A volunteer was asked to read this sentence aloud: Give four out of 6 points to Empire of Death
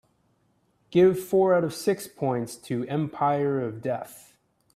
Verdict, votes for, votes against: rejected, 0, 2